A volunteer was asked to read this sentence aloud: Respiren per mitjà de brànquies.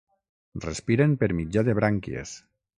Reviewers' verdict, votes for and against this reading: accepted, 9, 0